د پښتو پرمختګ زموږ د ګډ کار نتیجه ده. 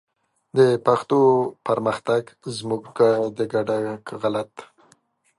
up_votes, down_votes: 0, 2